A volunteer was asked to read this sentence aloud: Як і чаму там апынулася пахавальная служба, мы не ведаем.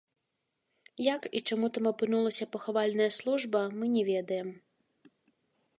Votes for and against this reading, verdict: 2, 0, accepted